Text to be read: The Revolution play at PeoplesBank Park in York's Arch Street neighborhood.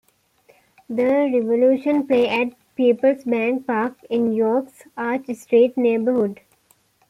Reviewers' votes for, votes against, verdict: 2, 0, accepted